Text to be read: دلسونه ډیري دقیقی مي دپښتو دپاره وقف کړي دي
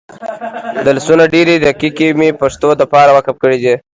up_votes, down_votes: 2, 0